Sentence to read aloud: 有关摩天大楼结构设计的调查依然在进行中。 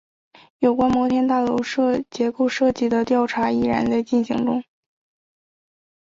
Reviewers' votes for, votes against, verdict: 2, 0, accepted